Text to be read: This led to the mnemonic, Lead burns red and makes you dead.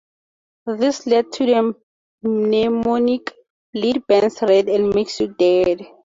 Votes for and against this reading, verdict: 2, 0, accepted